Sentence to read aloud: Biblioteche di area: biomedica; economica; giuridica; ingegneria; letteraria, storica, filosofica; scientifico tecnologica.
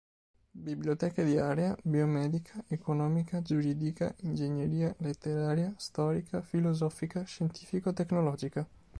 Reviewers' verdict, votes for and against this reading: accepted, 2, 0